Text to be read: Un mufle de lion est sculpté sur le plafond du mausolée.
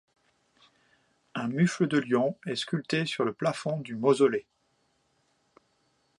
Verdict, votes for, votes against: accepted, 2, 0